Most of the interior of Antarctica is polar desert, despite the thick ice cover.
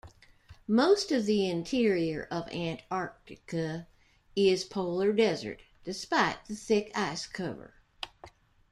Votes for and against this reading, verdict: 1, 2, rejected